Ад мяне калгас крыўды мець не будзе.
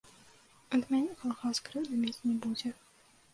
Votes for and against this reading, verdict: 2, 0, accepted